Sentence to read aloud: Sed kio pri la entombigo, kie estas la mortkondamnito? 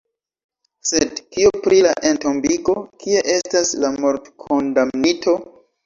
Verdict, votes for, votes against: accepted, 2, 0